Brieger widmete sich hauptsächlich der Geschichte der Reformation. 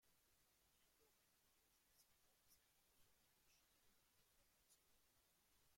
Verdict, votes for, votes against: rejected, 0, 2